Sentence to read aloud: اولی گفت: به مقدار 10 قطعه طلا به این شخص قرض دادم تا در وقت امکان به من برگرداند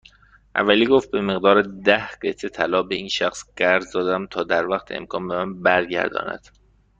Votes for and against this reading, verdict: 0, 2, rejected